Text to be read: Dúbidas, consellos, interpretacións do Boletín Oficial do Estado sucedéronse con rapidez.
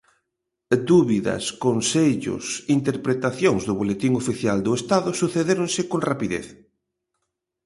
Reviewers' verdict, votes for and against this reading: accepted, 2, 0